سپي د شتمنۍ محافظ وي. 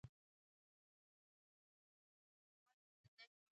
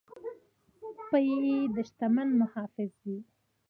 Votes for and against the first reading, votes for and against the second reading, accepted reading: 2, 0, 0, 2, first